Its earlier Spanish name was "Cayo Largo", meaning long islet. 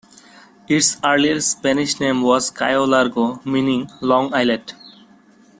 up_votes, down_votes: 1, 2